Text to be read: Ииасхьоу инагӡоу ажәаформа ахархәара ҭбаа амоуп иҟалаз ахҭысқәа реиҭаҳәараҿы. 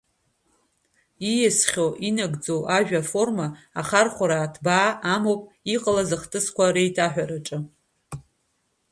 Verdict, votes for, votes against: accepted, 2, 0